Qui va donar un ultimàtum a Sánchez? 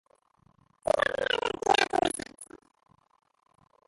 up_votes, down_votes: 0, 2